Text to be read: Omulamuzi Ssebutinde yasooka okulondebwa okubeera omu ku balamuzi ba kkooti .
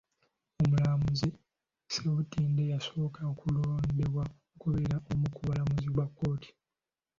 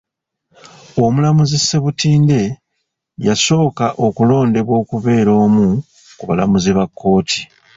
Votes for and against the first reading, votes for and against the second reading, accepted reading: 2, 1, 1, 2, first